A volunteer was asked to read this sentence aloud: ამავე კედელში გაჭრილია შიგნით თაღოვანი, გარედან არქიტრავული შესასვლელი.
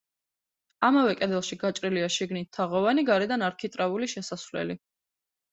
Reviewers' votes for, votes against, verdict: 2, 0, accepted